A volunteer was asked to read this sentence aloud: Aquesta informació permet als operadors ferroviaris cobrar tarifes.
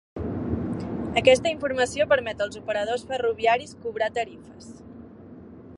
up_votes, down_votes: 2, 0